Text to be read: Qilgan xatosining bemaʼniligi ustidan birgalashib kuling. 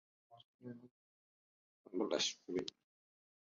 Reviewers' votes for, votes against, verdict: 1, 2, rejected